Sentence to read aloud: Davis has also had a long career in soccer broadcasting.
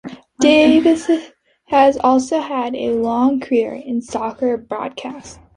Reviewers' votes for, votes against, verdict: 1, 2, rejected